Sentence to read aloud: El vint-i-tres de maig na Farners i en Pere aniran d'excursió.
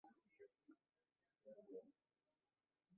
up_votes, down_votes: 1, 2